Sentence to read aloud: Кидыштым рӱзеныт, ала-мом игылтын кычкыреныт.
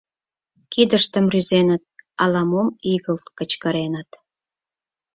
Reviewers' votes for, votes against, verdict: 0, 4, rejected